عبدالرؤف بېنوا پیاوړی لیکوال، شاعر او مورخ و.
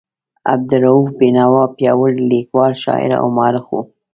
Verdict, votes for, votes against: rejected, 2, 3